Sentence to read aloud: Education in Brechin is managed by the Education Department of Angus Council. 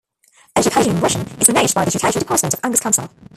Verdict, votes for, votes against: rejected, 0, 2